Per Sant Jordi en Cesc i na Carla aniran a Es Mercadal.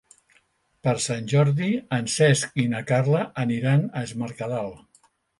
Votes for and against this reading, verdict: 3, 0, accepted